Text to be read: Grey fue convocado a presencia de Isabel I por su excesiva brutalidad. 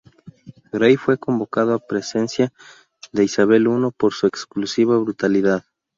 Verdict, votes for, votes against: rejected, 0, 2